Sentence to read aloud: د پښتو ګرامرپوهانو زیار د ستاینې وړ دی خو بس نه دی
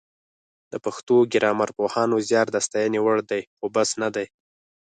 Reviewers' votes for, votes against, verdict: 4, 0, accepted